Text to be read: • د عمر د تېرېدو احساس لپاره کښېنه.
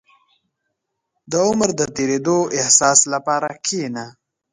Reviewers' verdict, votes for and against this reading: accepted, 2, 1